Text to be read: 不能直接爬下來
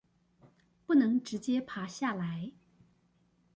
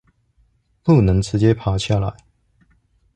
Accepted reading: second